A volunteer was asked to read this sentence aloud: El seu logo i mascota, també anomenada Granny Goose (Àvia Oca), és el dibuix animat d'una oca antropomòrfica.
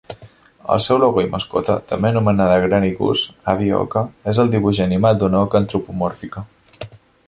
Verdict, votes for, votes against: accepted, 2, 0